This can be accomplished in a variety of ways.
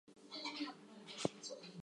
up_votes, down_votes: 0, 4